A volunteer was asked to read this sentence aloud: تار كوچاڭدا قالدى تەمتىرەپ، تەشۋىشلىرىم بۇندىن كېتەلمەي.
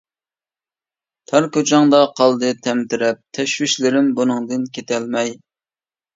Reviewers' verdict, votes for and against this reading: rejected, 0, 2